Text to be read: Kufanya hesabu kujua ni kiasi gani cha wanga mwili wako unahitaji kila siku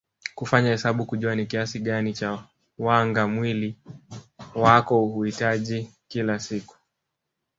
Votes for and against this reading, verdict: 5, 0, accepted